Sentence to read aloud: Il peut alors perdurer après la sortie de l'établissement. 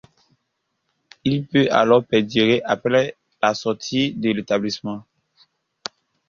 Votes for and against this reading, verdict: 2, 0, accepted